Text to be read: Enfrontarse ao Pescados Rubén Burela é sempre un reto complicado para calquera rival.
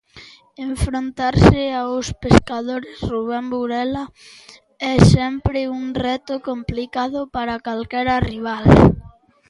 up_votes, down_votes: 0, 2